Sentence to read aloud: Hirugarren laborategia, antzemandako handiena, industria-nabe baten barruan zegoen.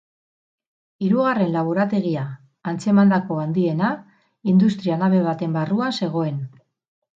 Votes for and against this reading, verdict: 6, 0, accepted